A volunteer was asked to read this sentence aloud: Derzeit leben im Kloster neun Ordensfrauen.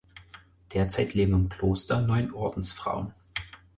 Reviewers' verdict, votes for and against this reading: accepted, 4, 0